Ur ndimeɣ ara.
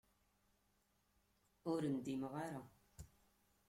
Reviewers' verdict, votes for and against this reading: accepted, 2, 1